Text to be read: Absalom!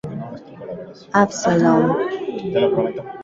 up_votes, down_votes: 0, 2